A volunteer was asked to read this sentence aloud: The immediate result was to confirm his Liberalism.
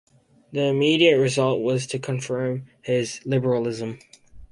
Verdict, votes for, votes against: accepted, 2, 0